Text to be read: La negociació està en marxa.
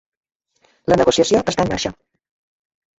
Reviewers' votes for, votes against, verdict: 0, 2, rejected